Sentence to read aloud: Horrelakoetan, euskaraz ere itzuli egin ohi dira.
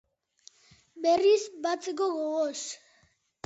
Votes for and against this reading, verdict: 0, 2, rejected